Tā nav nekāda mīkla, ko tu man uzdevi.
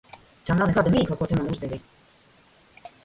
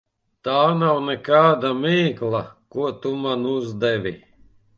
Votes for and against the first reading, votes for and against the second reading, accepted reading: 0, 2, 2, 0, second